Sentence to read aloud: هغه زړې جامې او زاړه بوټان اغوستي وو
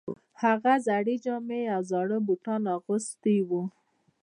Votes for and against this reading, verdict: 2, 0, accepted